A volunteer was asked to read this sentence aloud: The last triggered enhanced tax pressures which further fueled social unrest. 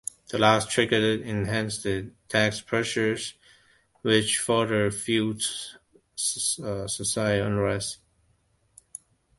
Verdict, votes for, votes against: rejected, 0, 2